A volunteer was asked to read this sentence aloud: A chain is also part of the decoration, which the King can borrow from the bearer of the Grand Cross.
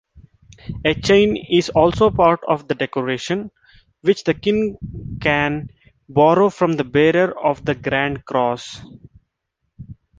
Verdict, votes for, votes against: accepted, 2, 0